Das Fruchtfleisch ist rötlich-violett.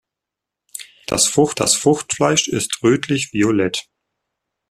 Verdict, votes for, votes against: rejected, 0, 2